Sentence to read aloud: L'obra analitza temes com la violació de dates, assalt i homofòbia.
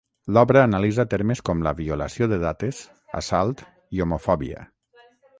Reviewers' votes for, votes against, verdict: 0, 6, rejected